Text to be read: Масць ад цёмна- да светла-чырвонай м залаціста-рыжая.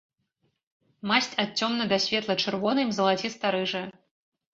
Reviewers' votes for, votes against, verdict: 2, 0, accepted